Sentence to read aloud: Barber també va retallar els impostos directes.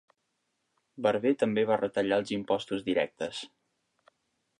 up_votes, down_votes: 3, 0